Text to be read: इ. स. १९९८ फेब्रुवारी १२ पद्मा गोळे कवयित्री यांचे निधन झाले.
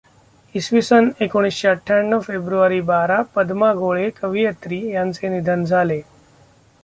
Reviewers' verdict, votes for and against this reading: rejected, 0, 2